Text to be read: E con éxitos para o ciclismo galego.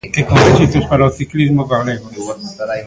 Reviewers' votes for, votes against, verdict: 0, 2, rejected